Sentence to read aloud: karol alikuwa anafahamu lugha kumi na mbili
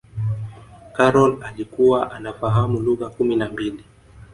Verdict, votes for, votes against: rejected, 0, 2